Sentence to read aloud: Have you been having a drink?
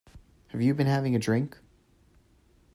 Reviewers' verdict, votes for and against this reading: accepted, 2, 0